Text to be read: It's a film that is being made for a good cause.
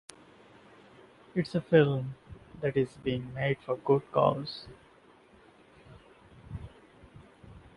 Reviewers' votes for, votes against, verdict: 1, 2, rejected